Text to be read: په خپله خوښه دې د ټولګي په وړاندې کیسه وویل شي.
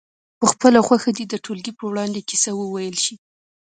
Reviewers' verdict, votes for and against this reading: accepted, 2, 0